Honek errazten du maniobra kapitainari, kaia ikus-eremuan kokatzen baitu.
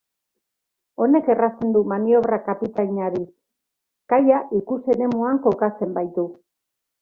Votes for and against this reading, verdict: 3, 0, accepted